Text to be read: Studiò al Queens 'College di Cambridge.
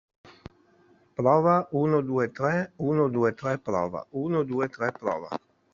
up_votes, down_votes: 0, 2